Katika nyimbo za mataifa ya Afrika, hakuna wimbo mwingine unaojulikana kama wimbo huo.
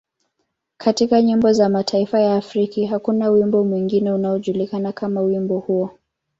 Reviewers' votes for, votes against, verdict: 2, 1, accepted